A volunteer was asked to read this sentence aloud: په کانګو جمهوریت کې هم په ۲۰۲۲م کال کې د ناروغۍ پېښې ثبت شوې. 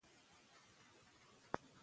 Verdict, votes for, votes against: rejected, 0, 2